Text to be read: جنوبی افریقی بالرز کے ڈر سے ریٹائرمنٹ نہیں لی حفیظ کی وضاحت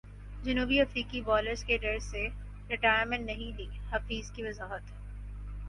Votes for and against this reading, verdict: 4, 0, accepted